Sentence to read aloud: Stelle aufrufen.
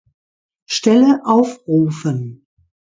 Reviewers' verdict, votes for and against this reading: accepted, 2, 0